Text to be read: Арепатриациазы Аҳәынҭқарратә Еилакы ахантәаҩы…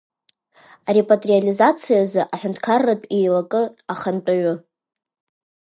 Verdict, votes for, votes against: accepted, 2, 1